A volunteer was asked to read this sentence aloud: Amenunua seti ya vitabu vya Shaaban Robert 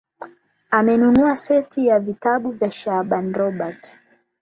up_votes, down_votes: 8, 0